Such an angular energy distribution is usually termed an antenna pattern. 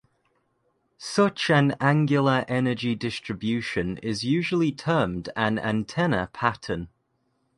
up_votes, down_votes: 2, 0